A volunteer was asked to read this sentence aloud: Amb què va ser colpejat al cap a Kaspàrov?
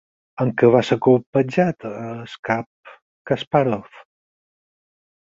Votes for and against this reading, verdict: 0, 4, rejected